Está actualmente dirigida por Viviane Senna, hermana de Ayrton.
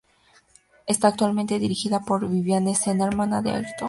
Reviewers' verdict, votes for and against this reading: accepted, 2, 0